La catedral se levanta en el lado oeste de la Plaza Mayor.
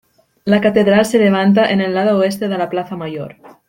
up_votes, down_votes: 2, 0